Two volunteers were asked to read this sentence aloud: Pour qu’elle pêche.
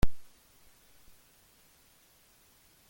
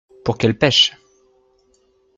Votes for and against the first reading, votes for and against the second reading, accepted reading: 0, 2, 2, 0, second